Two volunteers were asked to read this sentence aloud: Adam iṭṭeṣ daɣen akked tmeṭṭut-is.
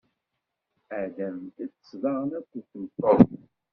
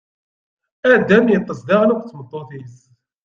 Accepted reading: second